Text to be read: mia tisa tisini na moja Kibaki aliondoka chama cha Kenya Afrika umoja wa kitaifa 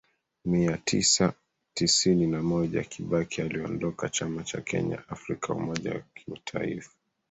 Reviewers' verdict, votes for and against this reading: accepted, 2, 0